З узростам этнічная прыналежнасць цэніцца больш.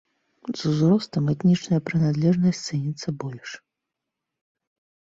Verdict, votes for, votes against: rejected, 1, 2